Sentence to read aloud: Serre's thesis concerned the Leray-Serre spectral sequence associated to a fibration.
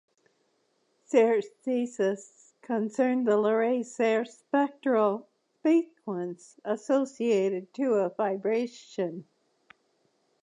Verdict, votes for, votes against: rejected, 1, 2